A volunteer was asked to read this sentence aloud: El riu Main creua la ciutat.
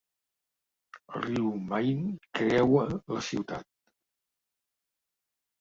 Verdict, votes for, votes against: accepted, 3, 0